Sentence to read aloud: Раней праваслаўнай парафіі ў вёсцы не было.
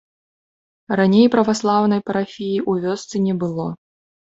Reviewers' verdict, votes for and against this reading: rejected, 1, 2